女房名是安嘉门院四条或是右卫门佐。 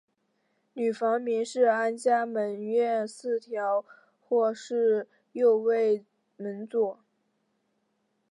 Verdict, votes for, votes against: rejected, 0, 2